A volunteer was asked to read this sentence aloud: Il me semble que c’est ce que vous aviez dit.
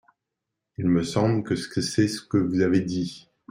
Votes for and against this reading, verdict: 0, 2, rejected